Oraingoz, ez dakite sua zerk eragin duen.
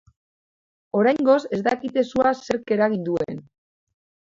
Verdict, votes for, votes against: accepted, 2, 0